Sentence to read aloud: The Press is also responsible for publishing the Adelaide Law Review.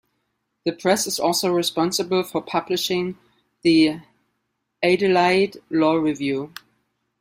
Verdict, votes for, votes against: rejected, 1, 2